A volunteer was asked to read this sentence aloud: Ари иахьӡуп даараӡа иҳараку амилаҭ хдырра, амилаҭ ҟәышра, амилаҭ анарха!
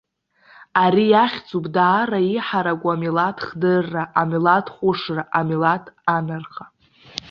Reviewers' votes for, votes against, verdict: 1, 2, rejected